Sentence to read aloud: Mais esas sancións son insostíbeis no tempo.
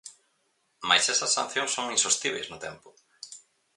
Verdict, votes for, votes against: accepted, 4, 0